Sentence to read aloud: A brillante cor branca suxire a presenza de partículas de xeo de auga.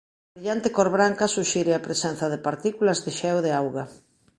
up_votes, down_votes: 1, 2